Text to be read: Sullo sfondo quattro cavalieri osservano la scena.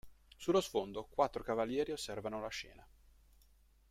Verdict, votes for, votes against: accepted, 2, 0